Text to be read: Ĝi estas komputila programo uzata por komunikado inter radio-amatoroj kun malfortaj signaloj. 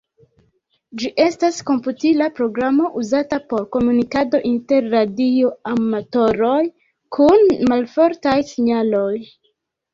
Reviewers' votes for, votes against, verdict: 0, 2, rejected